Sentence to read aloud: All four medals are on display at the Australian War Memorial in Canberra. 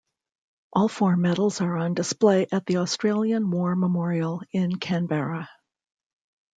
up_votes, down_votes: 2, 0